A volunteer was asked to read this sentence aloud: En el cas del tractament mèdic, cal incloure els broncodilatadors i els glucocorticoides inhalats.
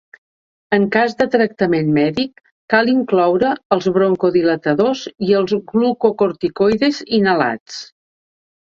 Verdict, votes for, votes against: rejected, 1, 2